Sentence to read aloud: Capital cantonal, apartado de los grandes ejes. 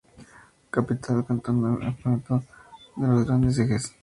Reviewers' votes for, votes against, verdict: 0, 2, rejected